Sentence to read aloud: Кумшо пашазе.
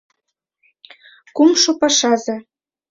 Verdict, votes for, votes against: accepted, 2, 0